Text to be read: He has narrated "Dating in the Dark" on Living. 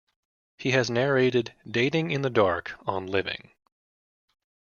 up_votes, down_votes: 2, 0